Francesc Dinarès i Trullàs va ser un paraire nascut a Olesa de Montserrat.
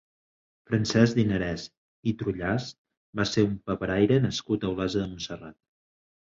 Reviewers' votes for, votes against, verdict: 0, 2, rejected